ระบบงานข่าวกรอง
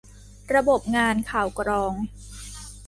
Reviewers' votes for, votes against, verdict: 2, 0, accepted